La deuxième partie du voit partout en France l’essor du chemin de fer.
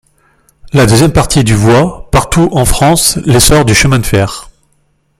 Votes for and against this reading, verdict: 1, 2, rejected